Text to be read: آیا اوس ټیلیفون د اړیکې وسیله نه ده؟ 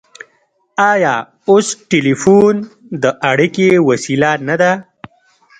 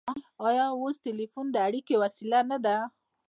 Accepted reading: first